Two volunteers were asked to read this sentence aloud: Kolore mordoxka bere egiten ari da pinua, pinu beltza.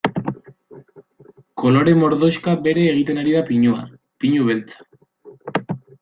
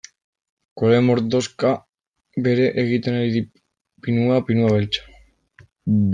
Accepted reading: first